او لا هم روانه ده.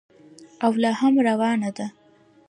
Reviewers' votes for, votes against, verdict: 0, 2, rejected